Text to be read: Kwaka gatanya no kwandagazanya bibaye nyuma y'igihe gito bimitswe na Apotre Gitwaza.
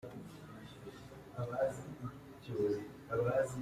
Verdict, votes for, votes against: rejected, 0, 2